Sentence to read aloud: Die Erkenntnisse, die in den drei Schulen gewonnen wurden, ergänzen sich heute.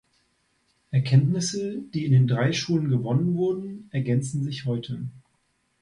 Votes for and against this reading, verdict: 0, 3, rejected